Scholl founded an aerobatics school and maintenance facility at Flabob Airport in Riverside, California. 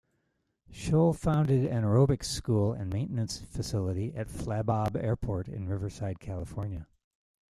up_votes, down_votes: 0, 2